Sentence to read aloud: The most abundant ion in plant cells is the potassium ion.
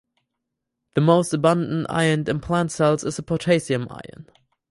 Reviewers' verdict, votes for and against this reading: accepted, 4, 0